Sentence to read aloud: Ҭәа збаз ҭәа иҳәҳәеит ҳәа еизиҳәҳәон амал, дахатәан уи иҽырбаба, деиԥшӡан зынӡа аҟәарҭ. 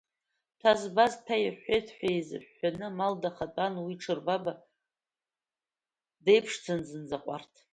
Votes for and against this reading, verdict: 0, 2, rejected